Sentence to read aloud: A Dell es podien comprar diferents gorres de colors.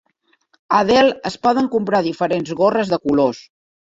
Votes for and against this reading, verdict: 1, 2, rejected